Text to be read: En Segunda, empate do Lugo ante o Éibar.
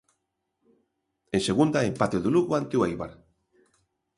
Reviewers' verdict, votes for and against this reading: accepted, 2, 0